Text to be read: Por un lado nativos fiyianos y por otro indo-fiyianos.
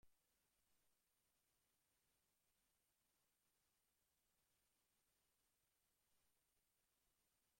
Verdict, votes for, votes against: rejected, 0, 2